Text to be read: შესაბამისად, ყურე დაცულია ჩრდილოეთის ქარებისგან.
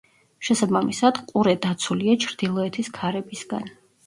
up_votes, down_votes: 0, 2